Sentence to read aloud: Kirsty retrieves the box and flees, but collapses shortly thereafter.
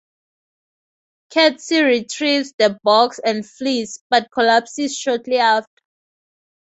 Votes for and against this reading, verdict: 2, 0, accepted